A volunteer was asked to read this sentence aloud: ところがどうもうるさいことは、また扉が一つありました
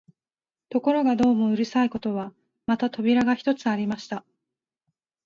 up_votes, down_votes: 4, 0